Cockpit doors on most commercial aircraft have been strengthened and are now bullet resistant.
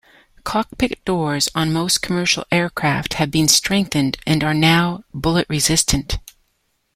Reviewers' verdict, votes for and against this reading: accepted, 2, 0